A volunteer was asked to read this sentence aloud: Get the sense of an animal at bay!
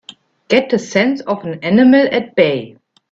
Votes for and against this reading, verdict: 2, 0, accepted